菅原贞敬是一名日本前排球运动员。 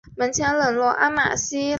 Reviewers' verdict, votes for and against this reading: rejected, 1, 4